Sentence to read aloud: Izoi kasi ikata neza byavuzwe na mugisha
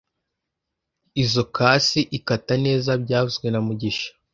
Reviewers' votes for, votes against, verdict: 2, 0, accepted